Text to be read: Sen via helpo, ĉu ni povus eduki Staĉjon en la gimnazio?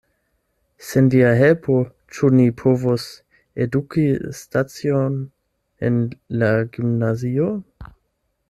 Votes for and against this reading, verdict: 0, 8, rejected